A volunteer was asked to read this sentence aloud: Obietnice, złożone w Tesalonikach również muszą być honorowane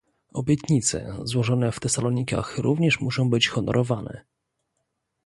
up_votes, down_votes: 2, 0